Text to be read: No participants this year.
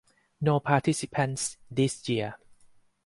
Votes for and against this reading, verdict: 4, 0, accepted